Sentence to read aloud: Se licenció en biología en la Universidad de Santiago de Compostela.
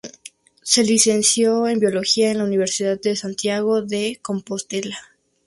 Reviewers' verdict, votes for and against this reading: accepted, 2, 0